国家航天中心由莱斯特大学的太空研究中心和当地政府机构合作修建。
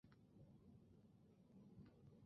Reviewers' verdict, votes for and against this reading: rejected, 0, 2